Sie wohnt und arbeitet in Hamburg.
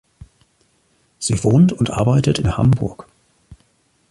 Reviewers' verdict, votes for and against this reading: accepted, 2, 0